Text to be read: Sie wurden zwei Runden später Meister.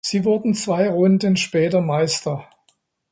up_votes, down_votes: 2, 0